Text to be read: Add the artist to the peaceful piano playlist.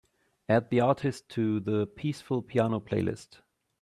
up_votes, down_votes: 2, 0